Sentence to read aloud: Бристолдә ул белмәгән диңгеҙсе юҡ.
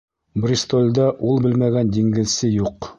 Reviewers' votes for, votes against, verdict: 2, 0, accepted